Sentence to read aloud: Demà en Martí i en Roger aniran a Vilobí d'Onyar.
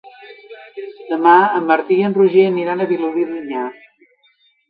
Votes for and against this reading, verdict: 2, 1, accepted